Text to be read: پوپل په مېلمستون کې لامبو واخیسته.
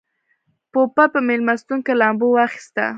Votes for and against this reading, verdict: 1, 2, rejected